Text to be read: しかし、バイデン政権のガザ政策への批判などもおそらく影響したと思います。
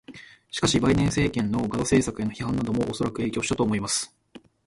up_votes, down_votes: 2, 1